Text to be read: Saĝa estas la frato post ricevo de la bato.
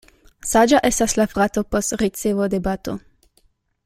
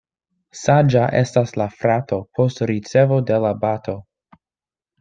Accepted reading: second